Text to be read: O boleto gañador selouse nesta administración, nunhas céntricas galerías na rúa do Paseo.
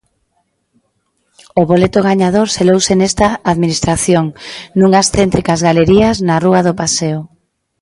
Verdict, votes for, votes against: accepted, 2, 0